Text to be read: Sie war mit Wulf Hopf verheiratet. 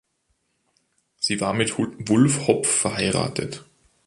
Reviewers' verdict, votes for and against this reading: accepted, 2, 1